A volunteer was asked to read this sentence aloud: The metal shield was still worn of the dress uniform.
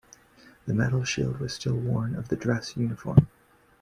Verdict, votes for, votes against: rejected, 1, 2